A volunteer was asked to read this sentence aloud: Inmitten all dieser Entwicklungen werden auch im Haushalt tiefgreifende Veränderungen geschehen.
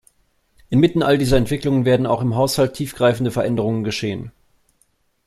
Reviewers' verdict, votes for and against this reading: accepted, 2, 0